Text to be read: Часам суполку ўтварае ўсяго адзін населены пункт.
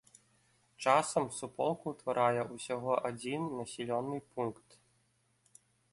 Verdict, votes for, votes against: rejected, 1, 2